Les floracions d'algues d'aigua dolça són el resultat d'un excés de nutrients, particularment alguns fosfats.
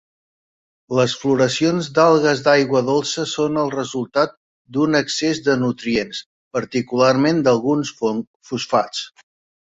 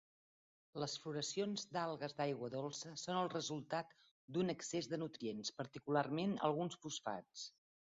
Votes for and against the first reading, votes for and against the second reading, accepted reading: 0, 2, 2, 0, second